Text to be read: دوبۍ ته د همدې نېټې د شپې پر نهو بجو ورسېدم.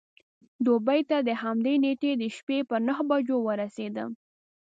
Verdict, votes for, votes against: accepted, 2, 0